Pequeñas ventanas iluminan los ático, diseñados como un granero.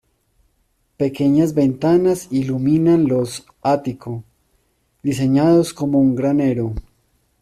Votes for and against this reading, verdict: 2, 0, accepted